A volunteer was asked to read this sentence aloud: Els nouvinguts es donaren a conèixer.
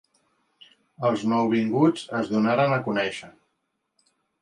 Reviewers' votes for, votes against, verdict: 3, 0, accepted